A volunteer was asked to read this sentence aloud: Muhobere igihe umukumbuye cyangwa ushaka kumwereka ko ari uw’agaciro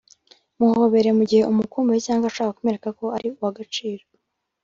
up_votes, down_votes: 2, 3